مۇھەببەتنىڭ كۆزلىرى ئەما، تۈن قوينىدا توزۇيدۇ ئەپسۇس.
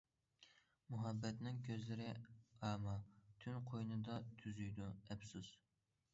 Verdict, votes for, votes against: rejected, 0, 2